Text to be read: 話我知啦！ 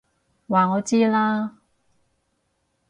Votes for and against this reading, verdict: 4, 0, accepted